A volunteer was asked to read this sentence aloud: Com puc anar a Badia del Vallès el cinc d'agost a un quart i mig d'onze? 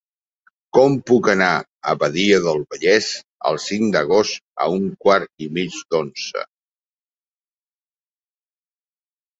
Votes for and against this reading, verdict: 6, 0, accepted